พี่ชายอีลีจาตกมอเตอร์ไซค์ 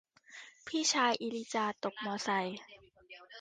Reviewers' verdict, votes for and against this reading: rejected, 0, 2